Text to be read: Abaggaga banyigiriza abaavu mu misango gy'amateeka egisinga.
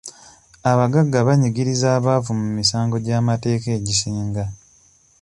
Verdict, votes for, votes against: accepted, 2, 0